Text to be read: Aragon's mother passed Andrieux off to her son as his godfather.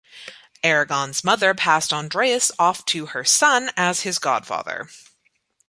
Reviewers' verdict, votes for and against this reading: rejected, 0, 2